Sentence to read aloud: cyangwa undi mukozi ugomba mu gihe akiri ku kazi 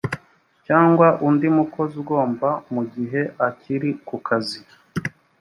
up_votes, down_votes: 2, 0